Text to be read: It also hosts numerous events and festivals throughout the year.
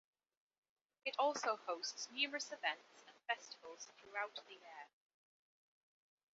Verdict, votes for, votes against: accepted, 2, 0